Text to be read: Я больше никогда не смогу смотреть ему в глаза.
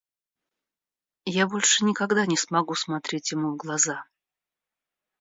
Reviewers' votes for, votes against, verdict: 2, 0, accepted